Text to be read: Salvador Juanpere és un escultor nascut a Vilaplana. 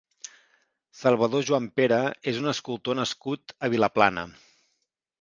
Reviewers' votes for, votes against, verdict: 2, 0, accepted